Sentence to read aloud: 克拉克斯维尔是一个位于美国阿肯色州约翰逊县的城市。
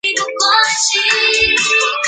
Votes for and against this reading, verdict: 0, 3, rejected